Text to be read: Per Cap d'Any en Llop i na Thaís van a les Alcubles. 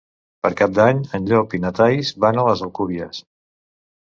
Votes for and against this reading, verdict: 0, 3, rejected